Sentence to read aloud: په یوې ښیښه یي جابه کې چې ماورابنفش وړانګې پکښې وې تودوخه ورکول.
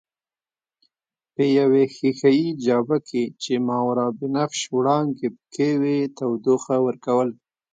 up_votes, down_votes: 2, 0